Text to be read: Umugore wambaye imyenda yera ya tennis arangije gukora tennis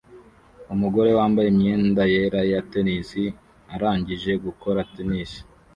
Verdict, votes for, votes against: rejected, 0, 2